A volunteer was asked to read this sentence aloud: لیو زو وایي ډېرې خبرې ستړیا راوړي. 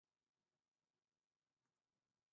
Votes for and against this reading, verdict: 0, 2, rejected